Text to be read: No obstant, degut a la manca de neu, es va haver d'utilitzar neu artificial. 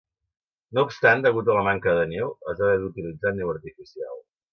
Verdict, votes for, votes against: accepted, 2, 0